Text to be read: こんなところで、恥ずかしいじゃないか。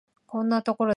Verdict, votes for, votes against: rejected, 0, 2